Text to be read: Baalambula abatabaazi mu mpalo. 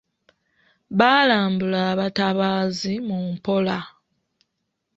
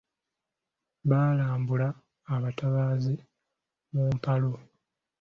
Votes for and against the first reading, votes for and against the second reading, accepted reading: 1, 2, 3, 0, second